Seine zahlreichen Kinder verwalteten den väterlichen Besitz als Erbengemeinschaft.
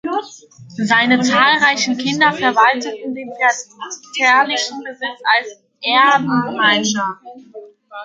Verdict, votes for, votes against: rejected, 0, 2